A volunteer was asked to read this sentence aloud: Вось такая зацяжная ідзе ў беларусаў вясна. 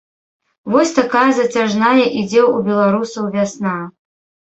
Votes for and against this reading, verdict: 2, 0, accepted